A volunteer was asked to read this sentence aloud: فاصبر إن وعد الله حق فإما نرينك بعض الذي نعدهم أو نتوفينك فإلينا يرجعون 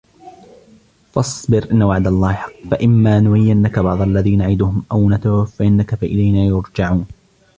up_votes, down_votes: 1, 2